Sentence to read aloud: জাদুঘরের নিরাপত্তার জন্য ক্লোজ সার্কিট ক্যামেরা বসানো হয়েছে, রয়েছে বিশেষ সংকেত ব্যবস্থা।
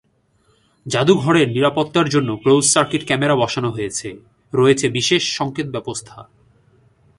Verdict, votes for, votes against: accepted, 2, 0